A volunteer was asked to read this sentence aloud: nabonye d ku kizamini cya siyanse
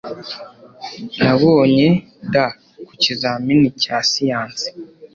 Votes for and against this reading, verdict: 2, 0, accepted